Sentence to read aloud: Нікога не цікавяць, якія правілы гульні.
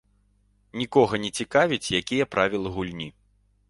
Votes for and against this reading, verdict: 3, 0, accepted